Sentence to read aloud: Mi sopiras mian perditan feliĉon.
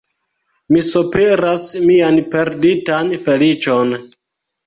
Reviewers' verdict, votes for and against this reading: accepted, 2, 0